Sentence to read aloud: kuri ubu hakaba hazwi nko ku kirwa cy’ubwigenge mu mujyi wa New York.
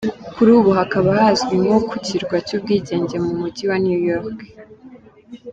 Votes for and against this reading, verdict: 2, 0, accepted